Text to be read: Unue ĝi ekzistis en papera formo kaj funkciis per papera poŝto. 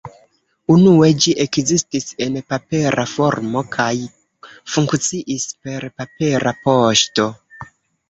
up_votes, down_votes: 2, 0